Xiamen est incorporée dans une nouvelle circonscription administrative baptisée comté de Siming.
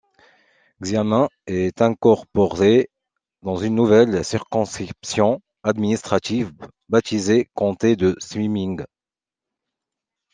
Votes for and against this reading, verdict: 2, 0, accepted